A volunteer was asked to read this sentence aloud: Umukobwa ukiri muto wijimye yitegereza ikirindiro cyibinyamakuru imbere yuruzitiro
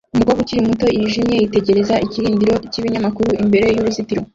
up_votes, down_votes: 0, 2